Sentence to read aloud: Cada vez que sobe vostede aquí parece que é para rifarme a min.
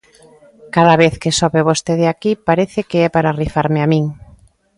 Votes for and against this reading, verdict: 2, 0, accepted